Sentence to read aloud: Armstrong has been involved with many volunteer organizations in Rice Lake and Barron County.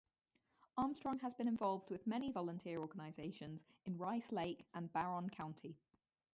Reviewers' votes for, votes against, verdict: 0, 4, rejected